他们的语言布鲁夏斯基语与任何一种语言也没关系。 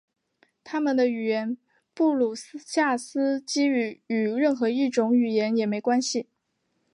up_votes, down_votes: 2, 0